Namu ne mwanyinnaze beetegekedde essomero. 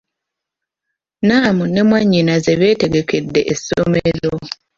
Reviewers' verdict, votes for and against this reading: rejected, 1, 2